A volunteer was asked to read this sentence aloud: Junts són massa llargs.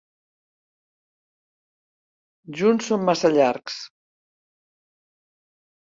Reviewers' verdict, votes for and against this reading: accepted, 3, 0